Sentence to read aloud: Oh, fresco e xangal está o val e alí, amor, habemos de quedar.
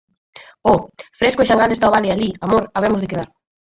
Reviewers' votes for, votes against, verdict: 2, 4, rejected